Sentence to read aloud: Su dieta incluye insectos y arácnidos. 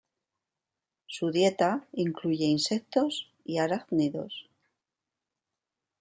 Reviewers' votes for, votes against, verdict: 2, 0, accepted